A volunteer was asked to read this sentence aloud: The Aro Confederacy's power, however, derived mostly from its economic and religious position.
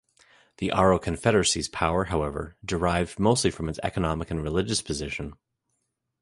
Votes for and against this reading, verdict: 2, 0, accepted